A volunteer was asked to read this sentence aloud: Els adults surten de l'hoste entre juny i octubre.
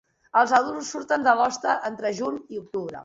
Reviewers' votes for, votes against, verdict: 3, 0, accepted